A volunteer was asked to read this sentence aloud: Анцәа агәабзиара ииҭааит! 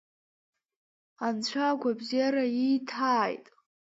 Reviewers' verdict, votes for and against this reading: accepted, 2, 0